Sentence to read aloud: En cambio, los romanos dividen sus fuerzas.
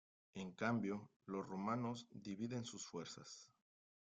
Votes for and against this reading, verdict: 2, 0, accepted